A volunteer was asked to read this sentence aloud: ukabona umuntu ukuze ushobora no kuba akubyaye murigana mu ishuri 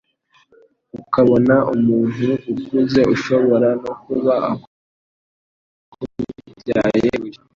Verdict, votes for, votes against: rejected, 0, 2